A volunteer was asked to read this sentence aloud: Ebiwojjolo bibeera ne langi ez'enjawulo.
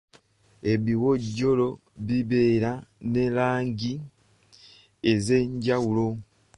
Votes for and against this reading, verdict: 2, 0, accepted